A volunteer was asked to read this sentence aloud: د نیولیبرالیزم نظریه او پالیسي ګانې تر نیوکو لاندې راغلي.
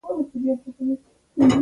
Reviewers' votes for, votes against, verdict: 0, 2, rejected